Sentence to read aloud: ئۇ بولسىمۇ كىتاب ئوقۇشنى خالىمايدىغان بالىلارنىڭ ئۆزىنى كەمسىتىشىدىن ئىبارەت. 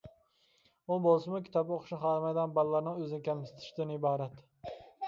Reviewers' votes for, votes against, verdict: 2, 0, accepted